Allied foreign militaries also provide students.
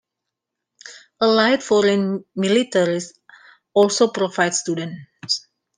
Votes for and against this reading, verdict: 2, 1, accepted